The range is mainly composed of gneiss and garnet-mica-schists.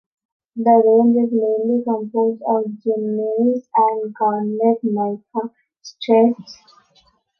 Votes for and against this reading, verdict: 0, 2, rejected